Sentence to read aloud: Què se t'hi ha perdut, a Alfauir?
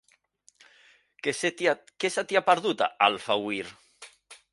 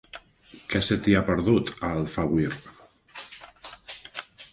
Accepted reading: second